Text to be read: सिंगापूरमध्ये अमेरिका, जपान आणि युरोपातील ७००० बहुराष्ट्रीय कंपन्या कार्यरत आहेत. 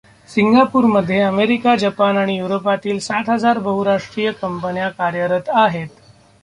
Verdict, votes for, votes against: rejected, 0, 2